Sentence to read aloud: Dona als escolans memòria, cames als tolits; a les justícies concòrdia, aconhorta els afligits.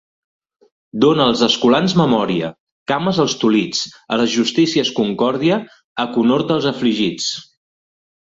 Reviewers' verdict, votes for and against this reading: accepted, 2, 0